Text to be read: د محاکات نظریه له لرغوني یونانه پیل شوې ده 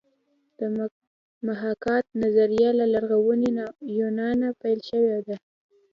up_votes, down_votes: 2, 0